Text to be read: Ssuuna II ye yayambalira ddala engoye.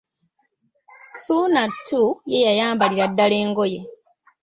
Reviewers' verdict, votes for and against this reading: rejected, 1, 2